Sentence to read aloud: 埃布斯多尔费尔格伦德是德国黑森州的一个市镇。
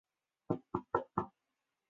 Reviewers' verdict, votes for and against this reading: rejected, 0, 2